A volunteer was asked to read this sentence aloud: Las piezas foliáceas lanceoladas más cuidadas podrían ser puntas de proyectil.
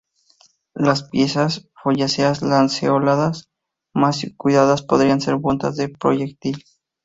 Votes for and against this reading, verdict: 0, 2, rejected